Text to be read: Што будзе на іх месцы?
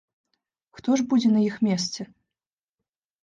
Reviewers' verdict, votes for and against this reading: rejected, 1, 2